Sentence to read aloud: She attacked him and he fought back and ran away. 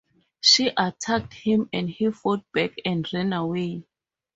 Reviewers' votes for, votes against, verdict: 4, 0, accepted